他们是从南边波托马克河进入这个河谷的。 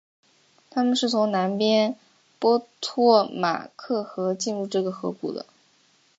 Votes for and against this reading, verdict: 7, 0, accepted